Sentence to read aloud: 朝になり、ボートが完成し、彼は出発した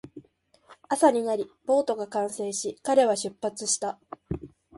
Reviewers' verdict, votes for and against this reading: accepted, 2, 0